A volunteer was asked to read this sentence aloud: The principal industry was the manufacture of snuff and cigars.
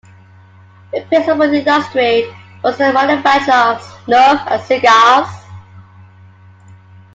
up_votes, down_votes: 1, 2